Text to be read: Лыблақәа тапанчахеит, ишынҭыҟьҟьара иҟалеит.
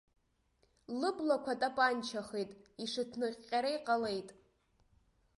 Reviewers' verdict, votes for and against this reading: accepted, 2, 1